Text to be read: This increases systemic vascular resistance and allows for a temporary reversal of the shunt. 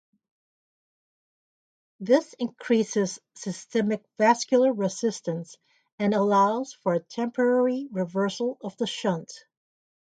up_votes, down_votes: 2, 0